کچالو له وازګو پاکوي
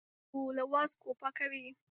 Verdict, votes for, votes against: rejected, 0, 2